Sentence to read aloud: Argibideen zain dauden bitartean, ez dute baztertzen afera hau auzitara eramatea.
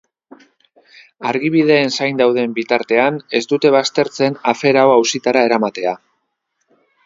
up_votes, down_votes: 2, 1